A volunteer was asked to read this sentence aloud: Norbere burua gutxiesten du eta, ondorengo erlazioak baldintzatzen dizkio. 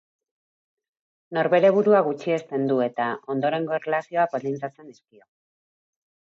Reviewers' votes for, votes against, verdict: 3, 0, accepted